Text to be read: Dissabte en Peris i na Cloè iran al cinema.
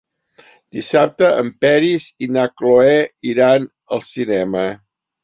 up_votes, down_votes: 3, 0